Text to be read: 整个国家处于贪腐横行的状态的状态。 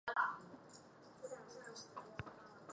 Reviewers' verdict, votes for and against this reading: rejected, 0, 2